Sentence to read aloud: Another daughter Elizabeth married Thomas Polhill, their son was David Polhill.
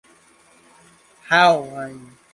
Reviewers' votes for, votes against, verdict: 0, 2, rejected